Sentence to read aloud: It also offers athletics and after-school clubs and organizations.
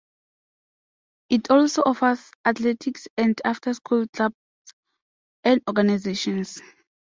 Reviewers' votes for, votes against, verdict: 2, 0, accepted